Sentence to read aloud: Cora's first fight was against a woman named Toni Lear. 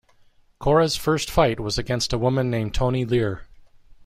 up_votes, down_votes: 2, 0